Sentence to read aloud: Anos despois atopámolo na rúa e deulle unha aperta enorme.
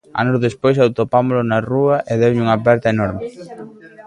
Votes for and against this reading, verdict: 2, 1, accepted